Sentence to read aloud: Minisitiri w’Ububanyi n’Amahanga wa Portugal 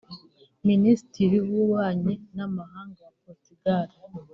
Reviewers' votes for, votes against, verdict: 2, 0, accepted